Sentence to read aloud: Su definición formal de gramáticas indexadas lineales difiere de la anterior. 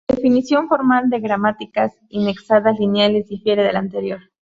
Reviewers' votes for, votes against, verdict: 0, 2, rejected